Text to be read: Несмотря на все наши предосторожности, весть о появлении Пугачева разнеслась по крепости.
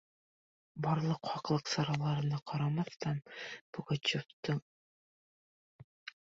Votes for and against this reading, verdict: 0, 2, rejected